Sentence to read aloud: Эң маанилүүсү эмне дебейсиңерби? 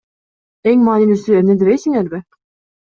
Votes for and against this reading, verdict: 2, 0, accepted